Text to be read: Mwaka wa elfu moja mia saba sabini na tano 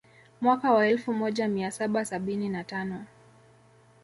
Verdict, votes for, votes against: rejected, 0, 2